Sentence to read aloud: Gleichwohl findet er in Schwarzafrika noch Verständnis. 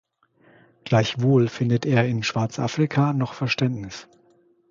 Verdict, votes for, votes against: accepted, 2, 0